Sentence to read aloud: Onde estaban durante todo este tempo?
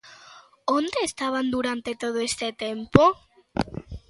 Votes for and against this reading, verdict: 2, 0, accepted